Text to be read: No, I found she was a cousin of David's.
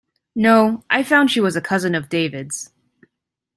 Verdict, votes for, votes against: accepted, 2, 0